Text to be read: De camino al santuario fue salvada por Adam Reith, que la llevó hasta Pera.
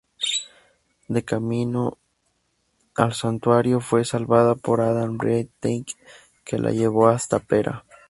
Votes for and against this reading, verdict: 0, 2, rejected